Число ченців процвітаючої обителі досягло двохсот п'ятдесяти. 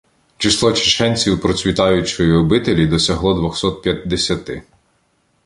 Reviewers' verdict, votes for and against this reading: rejected, 0, 2